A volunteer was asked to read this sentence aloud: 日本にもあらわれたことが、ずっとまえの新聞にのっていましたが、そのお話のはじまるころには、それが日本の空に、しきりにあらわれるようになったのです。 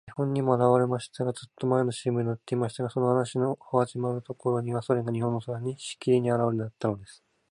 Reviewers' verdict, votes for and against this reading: rejected, 2, 4